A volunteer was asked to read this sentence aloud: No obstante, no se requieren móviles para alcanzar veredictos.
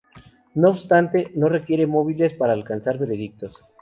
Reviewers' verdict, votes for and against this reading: rejected, 0, 2